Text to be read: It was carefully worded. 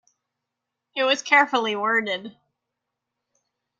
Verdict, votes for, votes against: accepted, 2, 0